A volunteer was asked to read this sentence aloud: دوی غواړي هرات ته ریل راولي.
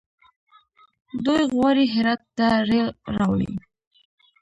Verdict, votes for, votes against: rejected, 0, 2